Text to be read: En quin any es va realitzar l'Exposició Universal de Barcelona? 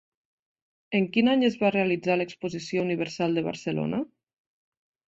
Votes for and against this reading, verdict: 2, 1, accepted